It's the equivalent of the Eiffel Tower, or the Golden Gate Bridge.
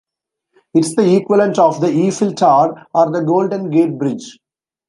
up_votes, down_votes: 0, 2